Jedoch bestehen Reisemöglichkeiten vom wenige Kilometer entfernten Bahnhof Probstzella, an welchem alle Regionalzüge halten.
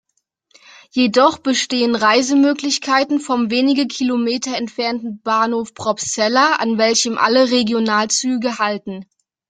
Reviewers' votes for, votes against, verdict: 2, 0, accepted